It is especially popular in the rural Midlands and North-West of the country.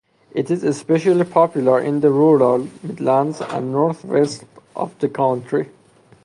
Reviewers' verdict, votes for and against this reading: accepted, 4, 0